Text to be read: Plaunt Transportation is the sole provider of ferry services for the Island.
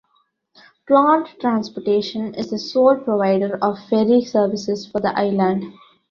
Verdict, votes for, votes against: accepted, 2, 0